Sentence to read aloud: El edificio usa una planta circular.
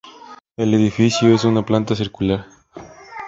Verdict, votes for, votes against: accepted, 2, 0